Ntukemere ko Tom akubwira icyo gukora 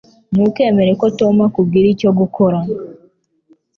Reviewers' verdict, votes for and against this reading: accepted, 2, 0